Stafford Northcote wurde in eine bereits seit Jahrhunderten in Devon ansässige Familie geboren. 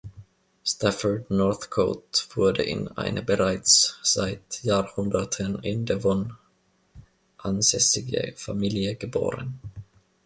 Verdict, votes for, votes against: accepted, 2, 0